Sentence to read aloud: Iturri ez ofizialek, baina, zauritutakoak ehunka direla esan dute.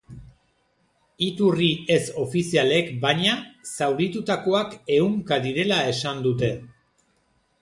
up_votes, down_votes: 0, 2